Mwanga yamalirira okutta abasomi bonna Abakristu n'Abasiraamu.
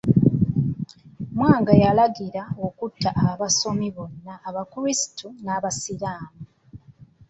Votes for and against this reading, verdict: 0, 2, rejected